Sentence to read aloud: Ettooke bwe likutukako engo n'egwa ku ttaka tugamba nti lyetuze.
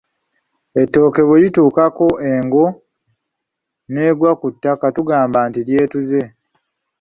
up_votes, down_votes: 0, 2